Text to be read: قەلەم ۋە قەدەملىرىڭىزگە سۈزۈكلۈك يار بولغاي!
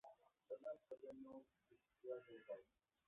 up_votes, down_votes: 0, 2